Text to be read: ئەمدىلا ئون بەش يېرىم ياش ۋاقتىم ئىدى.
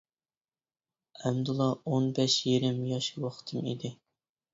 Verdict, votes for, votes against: accepted, 2, 0